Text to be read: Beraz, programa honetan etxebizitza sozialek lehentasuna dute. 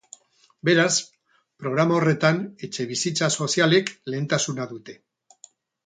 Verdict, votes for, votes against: rejected, 0, 2